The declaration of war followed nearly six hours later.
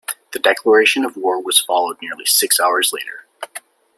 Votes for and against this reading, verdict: 1, 2, rejected